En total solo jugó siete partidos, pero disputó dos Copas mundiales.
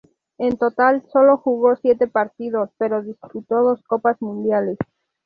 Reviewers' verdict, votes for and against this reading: accepted, 2, 0